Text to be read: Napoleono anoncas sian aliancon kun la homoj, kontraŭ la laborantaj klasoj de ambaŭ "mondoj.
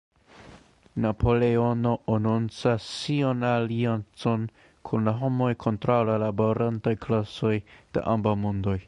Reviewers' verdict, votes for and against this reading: rejected, 1, 2